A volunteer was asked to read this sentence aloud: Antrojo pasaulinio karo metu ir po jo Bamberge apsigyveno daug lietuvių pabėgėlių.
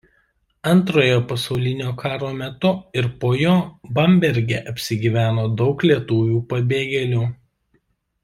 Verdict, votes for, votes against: accepted, 2, 0